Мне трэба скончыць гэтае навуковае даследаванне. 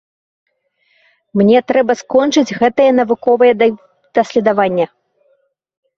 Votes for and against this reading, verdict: 0, 2, rejected